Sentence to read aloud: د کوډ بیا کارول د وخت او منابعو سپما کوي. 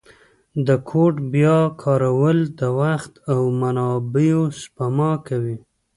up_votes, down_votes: 2, 0